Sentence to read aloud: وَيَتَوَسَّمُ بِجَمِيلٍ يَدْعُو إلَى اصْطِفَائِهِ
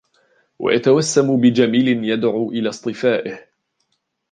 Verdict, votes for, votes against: accepted, 2, 0